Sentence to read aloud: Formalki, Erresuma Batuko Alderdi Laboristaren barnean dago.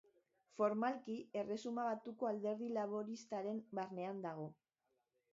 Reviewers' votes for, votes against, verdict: 1, 2, rejected